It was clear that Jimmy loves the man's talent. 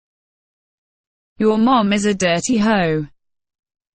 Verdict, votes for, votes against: rejected, 0, 2